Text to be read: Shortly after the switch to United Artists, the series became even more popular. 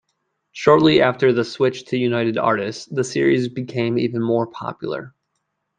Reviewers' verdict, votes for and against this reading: accepted, 2, 0